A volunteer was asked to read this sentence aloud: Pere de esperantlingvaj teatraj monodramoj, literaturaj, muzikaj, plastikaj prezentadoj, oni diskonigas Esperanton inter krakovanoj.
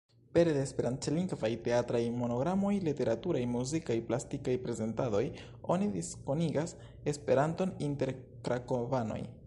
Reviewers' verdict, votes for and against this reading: accepted, 2, 0